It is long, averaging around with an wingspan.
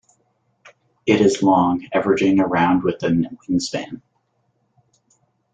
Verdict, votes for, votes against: rejected, 1, 2